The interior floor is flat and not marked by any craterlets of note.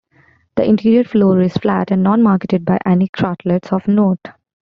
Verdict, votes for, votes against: rejected, 0, 2